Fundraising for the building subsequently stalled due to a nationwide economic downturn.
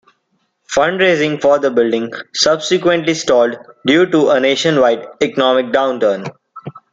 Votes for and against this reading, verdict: 2, 0, accepted